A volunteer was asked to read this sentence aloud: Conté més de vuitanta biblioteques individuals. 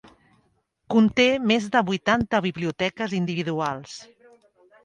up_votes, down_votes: 3, 0